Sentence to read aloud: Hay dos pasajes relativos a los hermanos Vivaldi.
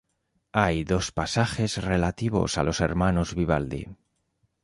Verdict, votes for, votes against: accepted, 2, 1